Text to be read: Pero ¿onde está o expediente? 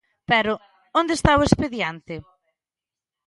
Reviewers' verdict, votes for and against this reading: accepted, 2, 0